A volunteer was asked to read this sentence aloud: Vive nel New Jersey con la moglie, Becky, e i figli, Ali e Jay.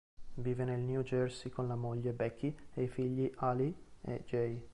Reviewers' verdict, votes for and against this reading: accepted, 2, 0